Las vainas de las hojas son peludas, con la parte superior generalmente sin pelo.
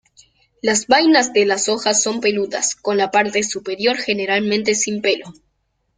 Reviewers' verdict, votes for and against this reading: accepted, 2, 0